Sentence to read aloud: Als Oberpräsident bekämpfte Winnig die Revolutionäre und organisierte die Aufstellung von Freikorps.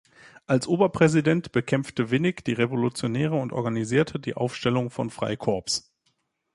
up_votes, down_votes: 2, 0